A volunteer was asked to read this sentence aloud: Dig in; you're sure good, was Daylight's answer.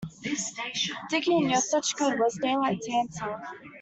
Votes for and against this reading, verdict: 0, 2, rejected